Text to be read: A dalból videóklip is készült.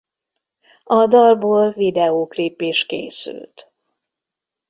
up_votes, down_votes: 2, 0